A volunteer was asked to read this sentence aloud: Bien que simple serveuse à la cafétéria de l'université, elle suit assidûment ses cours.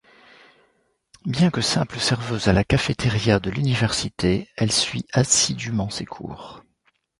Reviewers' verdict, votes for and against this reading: accepted, 2, 0